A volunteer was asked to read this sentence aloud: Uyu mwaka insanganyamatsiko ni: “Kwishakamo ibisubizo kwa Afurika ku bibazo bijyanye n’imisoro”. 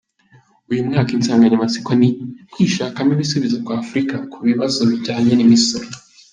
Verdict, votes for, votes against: accepted, 2, 1